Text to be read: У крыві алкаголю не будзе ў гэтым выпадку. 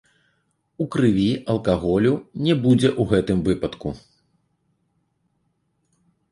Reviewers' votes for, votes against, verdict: 0, 2, rejected